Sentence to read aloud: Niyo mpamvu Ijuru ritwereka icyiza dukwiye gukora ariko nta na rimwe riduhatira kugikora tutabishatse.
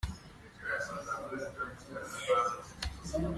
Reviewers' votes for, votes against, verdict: 0, 2, rejected